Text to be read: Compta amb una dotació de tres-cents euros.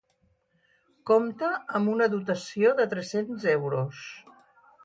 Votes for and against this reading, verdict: 2, 2, rejected